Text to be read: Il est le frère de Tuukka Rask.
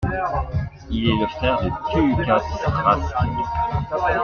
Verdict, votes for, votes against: rejected, 0, 2